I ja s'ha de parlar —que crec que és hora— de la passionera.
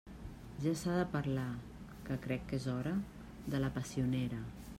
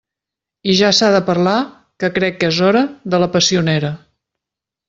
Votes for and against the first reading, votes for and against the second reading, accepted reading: 0, 2, 2, 0, second